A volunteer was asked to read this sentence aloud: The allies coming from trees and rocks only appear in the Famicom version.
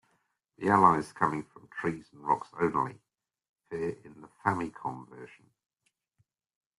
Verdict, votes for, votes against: rejected, 1, 2